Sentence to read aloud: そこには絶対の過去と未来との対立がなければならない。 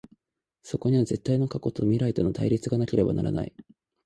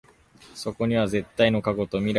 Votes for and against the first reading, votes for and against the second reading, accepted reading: 2, 0, 1, 2, first